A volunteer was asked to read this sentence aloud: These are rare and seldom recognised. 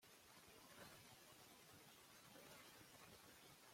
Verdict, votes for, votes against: rejected, 0, 2